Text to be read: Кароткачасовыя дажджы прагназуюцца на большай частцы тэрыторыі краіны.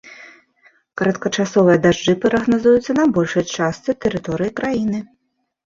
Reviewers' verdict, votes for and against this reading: accepted, 2, 1